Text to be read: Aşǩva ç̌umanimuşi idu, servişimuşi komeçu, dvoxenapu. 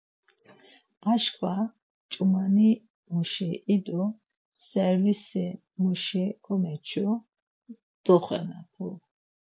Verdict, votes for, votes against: accepted, 4, 0